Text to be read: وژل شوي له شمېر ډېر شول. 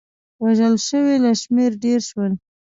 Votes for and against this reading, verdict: 2, 0, accepted